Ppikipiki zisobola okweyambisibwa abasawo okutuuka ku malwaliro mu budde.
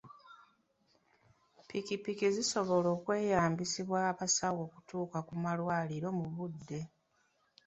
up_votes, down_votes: 3, 0